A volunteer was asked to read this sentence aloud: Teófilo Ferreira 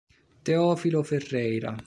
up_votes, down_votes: 2, 0